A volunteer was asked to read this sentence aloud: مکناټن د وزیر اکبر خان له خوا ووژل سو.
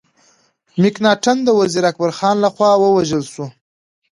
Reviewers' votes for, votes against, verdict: 2, 0, accepted